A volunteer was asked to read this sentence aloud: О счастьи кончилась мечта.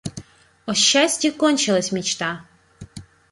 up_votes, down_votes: 2, 0